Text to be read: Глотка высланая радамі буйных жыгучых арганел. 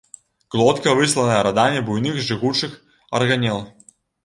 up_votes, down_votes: 0, 2